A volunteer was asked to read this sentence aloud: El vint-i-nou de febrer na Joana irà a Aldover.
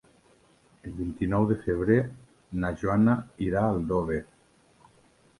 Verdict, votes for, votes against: rejected, 0, 2